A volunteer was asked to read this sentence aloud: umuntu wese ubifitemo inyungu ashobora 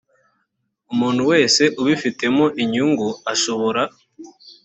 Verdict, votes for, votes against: accepted, 2, 0